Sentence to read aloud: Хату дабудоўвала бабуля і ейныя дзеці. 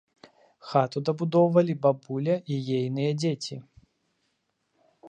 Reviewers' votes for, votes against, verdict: 0, 2, rejected